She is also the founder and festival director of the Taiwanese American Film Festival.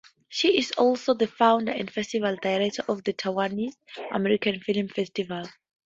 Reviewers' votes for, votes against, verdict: 2, 0, accepted